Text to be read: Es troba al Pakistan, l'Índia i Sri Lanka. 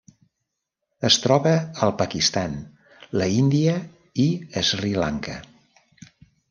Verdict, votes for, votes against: rejected, 1, 2